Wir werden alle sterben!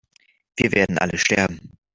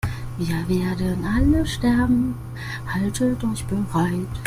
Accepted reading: first